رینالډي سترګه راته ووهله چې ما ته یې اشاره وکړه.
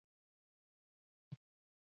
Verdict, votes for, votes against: rejected, 1, 2